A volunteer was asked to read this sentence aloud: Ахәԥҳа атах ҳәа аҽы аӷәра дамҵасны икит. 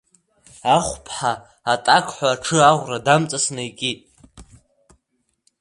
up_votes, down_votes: 1, 2